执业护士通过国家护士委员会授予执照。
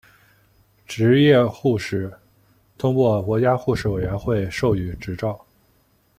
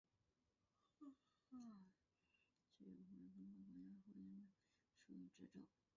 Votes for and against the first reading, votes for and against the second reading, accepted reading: 2, 0, 0, 3, first